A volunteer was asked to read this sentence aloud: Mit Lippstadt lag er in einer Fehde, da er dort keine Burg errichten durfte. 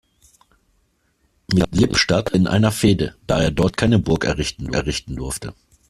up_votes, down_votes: 0, 2